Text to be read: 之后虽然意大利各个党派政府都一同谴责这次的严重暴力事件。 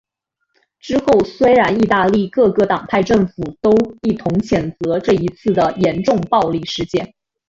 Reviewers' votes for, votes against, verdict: 2, 1, accepted